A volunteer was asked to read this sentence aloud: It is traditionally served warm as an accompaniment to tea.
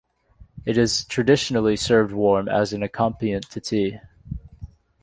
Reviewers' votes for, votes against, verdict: 0, 2, rejected